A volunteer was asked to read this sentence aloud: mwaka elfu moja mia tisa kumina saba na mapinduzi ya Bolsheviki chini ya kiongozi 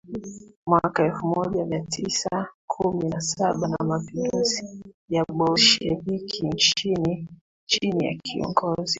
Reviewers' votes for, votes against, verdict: 1, 2, rejected